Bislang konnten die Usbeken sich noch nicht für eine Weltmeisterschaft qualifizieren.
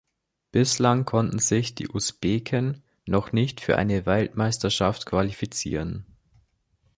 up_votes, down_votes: 1, 2